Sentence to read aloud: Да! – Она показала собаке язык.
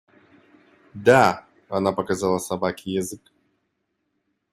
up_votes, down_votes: 2, 0